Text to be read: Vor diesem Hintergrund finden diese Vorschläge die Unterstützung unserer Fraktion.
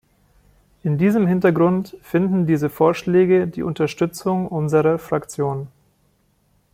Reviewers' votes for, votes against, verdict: 0, 2, rejected